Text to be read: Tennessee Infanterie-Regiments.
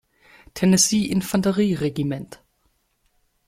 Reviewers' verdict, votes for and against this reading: rejected, 1, 2